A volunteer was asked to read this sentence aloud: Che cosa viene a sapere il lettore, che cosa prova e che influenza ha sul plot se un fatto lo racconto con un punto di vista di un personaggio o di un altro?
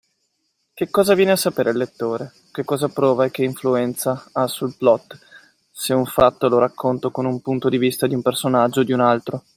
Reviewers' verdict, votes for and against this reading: accepted, 2, 1